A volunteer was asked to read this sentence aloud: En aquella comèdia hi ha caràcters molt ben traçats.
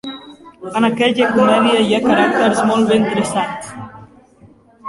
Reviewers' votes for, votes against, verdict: 0, 2, rejected